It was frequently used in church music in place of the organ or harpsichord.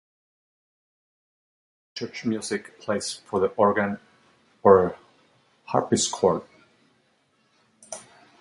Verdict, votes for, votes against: rejected, 0, 2